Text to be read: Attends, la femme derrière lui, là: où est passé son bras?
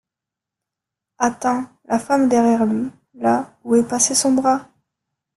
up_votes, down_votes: 0, 2